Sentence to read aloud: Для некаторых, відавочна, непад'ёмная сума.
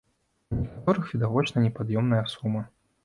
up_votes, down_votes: 0, 2